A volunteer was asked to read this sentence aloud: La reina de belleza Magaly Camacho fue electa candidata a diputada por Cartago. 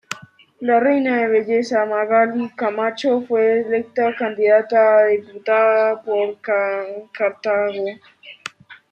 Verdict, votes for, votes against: accepted, 2, 1